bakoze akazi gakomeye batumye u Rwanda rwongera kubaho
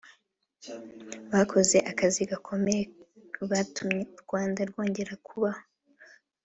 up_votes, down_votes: 2, 1